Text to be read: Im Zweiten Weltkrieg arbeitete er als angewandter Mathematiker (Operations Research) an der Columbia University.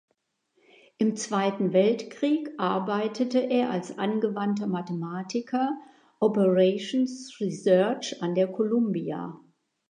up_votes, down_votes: 0, 2